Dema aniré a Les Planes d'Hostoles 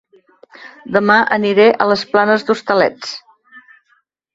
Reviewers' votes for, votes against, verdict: 1, 2, rejected